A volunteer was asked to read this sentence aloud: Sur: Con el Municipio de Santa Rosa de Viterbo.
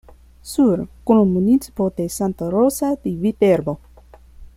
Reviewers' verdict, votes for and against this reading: rejected, 1, 2